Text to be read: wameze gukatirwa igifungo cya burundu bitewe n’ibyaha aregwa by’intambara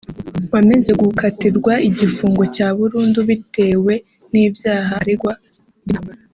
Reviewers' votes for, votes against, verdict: 1, 2, rejected